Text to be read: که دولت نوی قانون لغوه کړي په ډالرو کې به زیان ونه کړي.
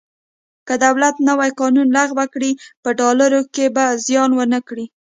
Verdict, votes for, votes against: accepted, 2, 0